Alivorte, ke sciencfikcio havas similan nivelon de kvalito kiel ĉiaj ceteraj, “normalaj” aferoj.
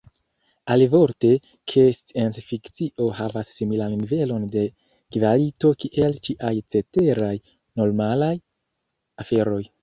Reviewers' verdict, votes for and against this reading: accepted, 2, 1